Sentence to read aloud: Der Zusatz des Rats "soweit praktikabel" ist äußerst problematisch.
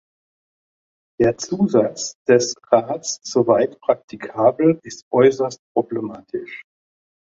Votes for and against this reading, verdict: 2, 0, accepted